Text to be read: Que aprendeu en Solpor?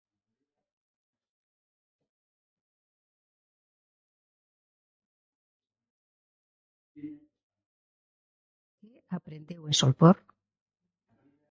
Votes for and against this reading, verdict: 0, 2, rejected